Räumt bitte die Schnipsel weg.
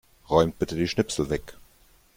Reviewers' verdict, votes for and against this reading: accepted, 2, 0